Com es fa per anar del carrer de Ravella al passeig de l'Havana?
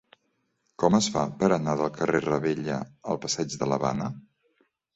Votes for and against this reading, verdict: 1, 2, rejected